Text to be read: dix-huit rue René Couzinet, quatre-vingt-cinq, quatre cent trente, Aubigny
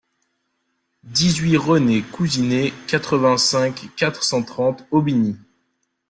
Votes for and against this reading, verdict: 1, 2, rejected